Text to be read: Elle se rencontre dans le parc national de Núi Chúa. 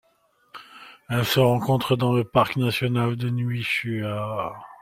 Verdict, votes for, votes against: accepted, 2, 0